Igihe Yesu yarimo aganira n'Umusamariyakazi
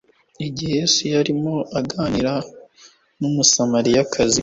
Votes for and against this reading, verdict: 2, 0, accepted